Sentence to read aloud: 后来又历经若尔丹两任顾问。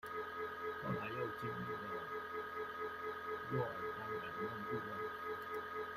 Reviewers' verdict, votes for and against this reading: rejected, 0, 2